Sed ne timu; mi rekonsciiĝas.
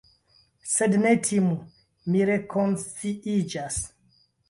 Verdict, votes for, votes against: accepted, 2, 0